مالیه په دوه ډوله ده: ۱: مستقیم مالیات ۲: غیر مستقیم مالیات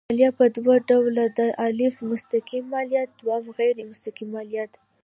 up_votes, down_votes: 0, 2